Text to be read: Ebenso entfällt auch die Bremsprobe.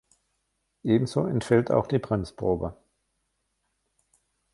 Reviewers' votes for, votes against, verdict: 2, 0, accepted